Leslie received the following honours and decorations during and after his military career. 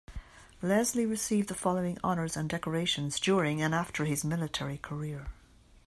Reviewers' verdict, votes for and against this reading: accepted, 2, 0